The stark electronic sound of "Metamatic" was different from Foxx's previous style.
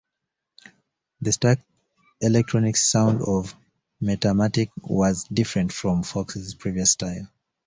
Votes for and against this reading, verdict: 2, 1, accepted